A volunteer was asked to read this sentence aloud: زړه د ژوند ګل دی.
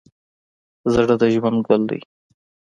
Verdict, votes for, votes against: accepted, 2, 0